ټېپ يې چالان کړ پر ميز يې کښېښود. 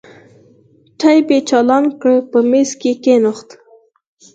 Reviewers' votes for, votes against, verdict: 2, 4, rejected